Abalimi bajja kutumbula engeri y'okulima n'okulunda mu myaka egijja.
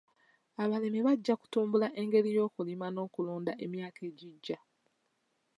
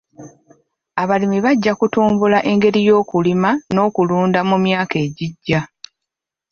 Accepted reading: first